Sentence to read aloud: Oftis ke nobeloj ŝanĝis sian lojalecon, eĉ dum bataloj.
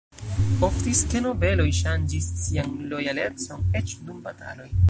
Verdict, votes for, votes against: rejected, 1, 2